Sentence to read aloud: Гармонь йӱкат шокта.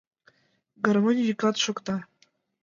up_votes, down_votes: 2, 0